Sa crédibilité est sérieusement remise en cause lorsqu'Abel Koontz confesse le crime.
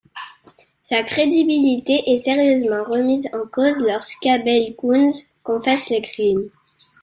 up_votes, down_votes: 2, 0